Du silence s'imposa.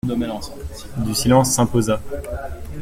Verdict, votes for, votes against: rejected, 0, 2